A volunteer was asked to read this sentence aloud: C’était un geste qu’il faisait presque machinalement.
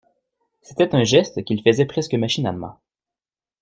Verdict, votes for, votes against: accepted, 2, 0